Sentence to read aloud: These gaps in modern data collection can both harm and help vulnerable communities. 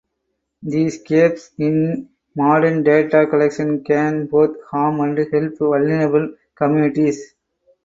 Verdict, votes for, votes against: rejected, 0, 4